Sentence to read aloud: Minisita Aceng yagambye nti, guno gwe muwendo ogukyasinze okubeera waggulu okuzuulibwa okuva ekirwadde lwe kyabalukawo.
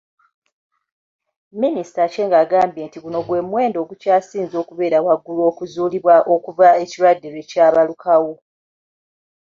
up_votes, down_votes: 2, 1